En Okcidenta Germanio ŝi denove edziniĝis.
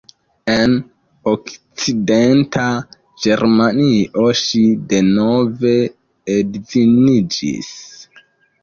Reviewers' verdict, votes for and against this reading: accepted, 2, 1